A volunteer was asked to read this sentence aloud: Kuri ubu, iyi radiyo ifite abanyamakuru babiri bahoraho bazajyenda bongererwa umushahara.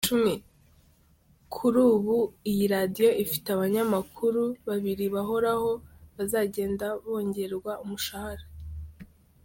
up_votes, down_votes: 0, 2